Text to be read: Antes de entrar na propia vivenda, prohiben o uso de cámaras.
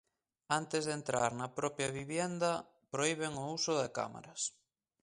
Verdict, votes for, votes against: rejected, 0, 2